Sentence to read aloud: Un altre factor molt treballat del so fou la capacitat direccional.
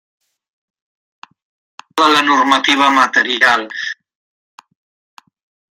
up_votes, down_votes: 0, 2